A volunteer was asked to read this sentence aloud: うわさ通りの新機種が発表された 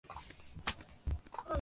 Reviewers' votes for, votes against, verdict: 0, 3, rejected